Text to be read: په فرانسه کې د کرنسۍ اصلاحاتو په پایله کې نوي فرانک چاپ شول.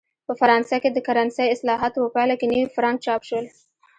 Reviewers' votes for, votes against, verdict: 0, 2, rejected